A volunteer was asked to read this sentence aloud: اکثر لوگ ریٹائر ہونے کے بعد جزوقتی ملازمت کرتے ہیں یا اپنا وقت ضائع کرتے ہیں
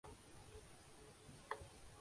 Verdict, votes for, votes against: rejected, 0, 4